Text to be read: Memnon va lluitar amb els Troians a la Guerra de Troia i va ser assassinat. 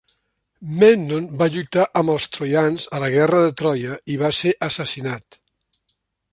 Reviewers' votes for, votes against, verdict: 2, 0, accepted